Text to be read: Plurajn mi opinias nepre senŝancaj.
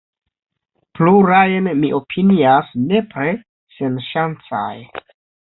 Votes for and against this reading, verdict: 2, 0, accepted